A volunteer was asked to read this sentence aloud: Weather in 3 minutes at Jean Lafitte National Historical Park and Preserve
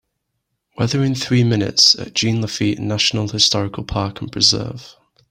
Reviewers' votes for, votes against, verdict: 0, 2, rejected